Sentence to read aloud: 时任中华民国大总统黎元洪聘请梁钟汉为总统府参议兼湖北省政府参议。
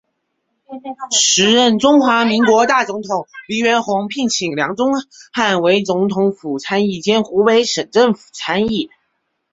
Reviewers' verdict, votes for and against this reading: accepted, 2, 0